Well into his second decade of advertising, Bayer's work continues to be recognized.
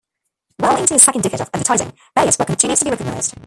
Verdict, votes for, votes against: rejected, 0, 2